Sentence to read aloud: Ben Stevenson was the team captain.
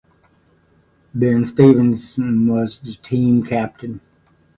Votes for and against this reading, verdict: 2, 0, accepted